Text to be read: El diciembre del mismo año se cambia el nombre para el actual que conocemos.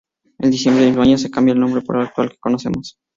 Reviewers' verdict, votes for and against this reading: accepted, 2, 0